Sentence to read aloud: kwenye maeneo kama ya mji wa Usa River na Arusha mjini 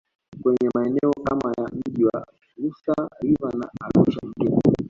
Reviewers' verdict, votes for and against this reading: rejected, 1, 2